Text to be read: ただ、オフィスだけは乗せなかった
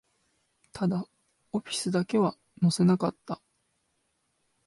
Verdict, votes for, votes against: accepted, 2, 0